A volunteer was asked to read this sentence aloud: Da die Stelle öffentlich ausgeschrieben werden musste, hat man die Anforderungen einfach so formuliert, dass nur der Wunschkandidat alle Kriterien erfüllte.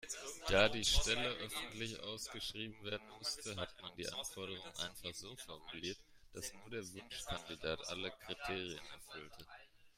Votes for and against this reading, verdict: 1, 2, rejected